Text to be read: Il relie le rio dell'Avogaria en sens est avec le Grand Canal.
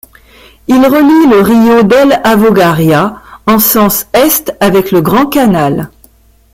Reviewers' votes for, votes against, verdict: 2, 0, accepted